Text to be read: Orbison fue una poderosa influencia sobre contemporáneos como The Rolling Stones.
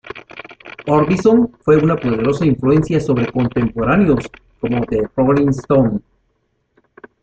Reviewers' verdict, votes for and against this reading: rejected, 0, 2